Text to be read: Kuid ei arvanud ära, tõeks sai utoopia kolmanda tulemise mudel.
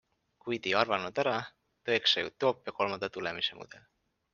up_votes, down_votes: 2, 0